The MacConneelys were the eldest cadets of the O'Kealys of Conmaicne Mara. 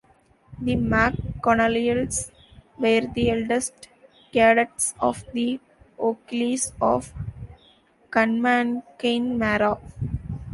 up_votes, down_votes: 1, 2